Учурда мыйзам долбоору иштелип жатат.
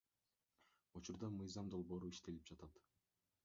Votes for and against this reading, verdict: 0, 2, rejected